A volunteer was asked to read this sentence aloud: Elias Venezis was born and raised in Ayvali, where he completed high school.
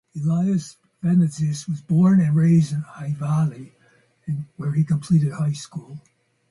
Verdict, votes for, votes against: accepted, 2, 0